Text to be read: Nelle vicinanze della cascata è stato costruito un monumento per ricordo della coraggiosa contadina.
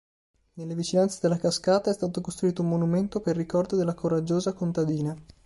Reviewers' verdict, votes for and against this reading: accepted, 2, 0